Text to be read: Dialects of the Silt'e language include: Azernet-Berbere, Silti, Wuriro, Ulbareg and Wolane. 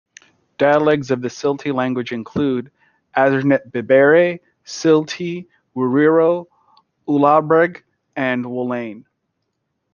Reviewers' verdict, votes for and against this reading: rejected, 0, 2